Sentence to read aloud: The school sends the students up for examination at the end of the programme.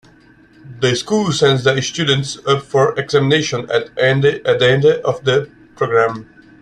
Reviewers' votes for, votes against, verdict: 0, 2, rejected